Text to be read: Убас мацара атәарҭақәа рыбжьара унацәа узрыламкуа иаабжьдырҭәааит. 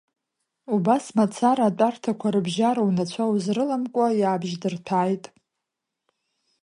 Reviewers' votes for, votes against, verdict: 2, 1, accepted